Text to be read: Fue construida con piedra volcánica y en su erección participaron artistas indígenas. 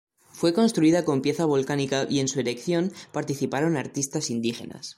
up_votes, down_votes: 0, 2